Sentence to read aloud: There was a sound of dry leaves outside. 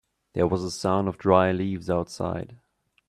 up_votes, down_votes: 2, 1